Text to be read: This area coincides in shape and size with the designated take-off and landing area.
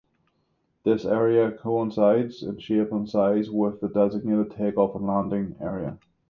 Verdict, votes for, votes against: accepted, 6, 0